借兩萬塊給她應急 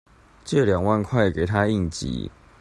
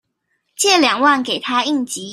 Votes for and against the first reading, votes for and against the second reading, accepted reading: 2, 0, 1, 2, first